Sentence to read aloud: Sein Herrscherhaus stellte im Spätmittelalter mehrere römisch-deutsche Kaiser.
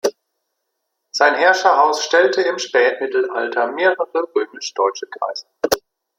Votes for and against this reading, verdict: 1, 2, rejected